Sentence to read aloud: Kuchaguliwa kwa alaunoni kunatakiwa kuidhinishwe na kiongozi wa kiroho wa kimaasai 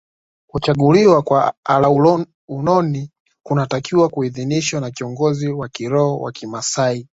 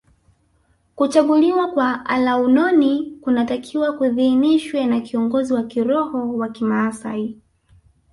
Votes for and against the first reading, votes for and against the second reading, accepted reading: 0, 2, 2, 1, second